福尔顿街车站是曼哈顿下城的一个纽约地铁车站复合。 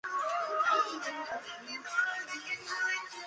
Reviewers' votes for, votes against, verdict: 0, 3, rejected